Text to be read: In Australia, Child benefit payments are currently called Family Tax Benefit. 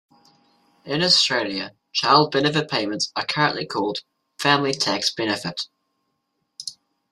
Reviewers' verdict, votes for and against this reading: accepted, 2, 0